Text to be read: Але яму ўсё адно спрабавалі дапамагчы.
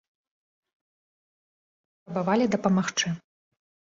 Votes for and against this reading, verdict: 0, 2, rejected